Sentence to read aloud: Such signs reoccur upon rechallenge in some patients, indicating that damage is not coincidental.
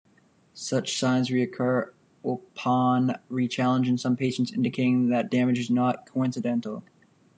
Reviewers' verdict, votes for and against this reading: rejected, 0, 2